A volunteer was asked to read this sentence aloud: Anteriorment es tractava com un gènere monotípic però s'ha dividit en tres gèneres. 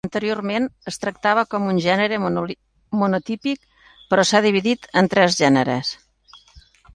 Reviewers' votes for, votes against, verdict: 0, 2, rejected